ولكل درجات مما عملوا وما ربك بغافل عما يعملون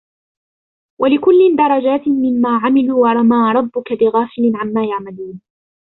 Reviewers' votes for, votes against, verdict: 2, 0, accepted